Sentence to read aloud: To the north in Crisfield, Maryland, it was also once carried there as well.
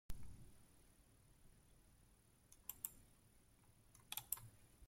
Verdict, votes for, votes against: rejected, 0, 2